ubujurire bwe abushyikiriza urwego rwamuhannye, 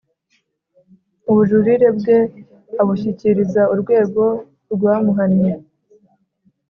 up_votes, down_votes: 3, 0